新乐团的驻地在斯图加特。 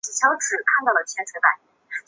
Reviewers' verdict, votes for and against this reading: rejected, 0, 2